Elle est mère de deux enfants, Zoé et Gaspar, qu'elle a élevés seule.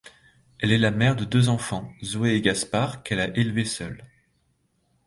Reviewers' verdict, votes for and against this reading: rejected, 0, 2